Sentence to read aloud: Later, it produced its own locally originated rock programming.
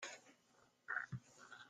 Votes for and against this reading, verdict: 0, 2, rejected